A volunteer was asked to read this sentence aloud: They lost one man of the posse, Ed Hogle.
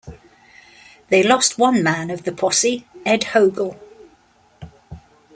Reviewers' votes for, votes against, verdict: 2, 0, accepted